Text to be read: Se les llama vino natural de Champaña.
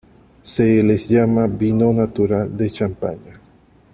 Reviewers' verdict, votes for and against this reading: rejected, 0, 2